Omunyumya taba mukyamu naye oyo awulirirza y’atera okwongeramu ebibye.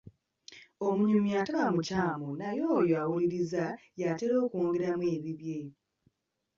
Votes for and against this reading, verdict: 0, 2, rejected